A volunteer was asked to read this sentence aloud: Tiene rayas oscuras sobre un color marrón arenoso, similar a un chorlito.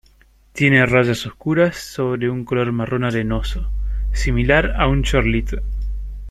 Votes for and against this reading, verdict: 2, 0, accepted